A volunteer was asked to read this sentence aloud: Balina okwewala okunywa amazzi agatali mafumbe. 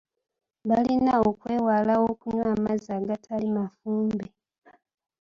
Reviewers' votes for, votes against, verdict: 1, 2, rejected